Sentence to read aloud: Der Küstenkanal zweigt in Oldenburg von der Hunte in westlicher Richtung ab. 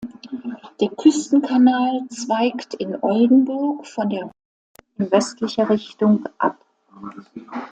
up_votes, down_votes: 0, 2